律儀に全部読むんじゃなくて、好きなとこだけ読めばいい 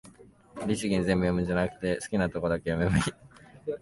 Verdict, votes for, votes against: rejected, 0, 2